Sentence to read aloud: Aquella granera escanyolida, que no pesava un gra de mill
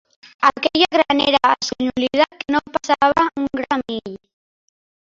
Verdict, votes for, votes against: rejected, 0, 4